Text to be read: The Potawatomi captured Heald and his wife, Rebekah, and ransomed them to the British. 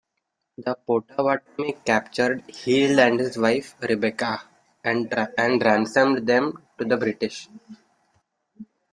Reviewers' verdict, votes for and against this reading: rejected, 1, 2